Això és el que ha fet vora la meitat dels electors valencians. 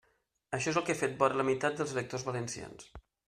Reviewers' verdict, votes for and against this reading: accepted, 2, 0